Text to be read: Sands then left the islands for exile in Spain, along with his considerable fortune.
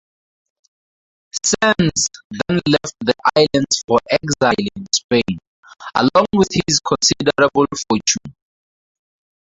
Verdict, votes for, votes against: rejected, 0, 4